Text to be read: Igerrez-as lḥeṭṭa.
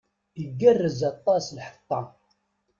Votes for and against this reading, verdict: 1, 2, rejected